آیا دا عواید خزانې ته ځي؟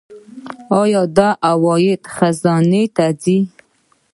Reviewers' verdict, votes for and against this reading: accepted, 2, 0